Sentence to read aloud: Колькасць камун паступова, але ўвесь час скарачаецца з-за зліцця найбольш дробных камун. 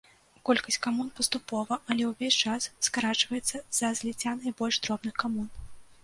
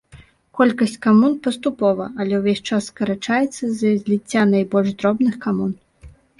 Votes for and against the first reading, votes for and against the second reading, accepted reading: 0, 2, 2, 0, second